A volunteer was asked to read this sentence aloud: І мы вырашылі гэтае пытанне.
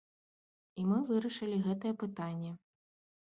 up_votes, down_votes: 2, 0